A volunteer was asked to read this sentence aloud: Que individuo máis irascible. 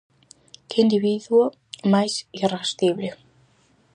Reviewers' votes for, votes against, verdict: 4, 0, accepted